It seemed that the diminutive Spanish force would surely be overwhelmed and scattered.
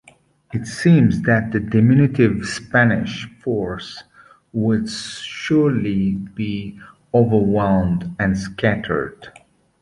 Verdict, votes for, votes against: accepted, 2, 0